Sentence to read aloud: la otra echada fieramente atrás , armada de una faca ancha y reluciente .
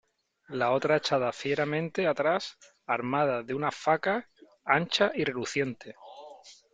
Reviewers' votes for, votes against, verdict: 3, 0, accepted